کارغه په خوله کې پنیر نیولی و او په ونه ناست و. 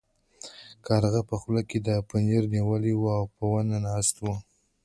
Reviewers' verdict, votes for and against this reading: accepted, 2, 1